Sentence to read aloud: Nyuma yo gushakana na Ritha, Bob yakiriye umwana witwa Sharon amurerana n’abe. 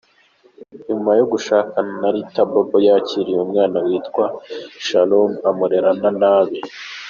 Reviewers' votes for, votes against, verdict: 3, 2, accepted